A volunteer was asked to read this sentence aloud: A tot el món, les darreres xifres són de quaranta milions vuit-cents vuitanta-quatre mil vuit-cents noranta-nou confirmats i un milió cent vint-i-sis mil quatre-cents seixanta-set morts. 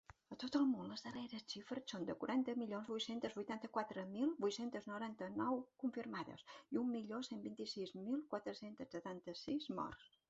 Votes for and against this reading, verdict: 0, 2, rejected